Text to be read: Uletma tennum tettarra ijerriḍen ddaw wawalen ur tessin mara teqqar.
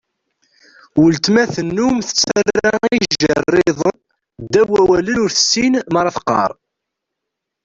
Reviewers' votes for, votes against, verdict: 1, 2, rejected